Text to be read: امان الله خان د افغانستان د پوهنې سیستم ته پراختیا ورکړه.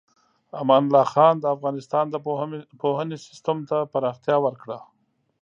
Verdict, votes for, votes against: accepted, 2, 0